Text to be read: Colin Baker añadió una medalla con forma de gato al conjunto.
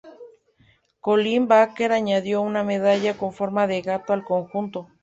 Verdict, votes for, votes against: accepted, 2, 0